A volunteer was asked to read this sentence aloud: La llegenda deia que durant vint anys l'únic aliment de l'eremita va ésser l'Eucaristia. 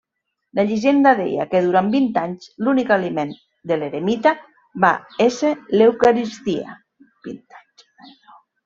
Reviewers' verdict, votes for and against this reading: accepted, 2, 1